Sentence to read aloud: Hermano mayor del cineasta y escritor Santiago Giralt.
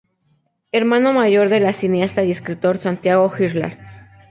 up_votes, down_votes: 0, 2